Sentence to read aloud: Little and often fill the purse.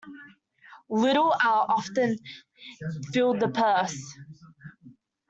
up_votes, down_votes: 0, 3